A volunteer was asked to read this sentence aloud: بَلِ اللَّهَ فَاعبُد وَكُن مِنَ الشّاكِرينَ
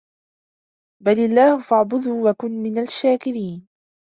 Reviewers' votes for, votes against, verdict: 0, 3, rejected